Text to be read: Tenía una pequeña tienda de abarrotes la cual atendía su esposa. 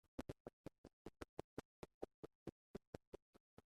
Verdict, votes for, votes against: rejected, 0, 2